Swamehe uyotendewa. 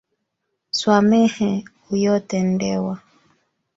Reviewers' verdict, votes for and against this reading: accepted, 2, 1